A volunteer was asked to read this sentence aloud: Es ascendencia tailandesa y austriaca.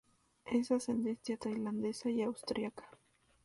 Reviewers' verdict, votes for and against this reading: accepted, 2, 0